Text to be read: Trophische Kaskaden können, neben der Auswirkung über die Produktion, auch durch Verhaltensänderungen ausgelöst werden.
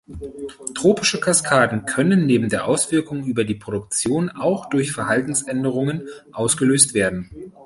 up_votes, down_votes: 0, 2